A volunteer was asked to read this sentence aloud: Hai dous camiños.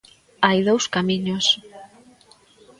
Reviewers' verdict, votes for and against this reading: accepted, 2, 0